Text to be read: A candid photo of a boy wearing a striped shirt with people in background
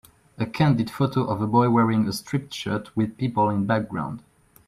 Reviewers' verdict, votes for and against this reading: accepted, 2, 1